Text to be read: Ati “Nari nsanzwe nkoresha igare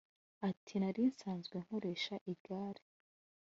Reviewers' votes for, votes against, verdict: 2, 0, accepted